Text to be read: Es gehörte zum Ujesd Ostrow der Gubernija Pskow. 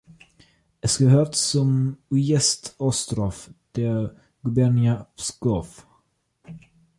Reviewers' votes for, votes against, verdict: 2, 1, accepted